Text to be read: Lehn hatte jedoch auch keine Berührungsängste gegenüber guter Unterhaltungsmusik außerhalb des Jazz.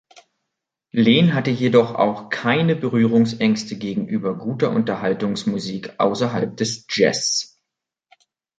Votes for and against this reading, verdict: 2, 0, accepted